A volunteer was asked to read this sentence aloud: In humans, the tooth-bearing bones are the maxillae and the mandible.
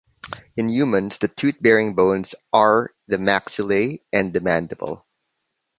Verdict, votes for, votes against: rejected, 1, 2